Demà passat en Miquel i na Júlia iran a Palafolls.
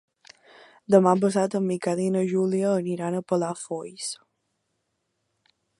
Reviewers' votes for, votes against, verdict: 2, 1, accepted